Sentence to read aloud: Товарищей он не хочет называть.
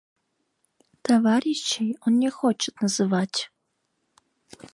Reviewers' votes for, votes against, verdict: 1, 2, rejected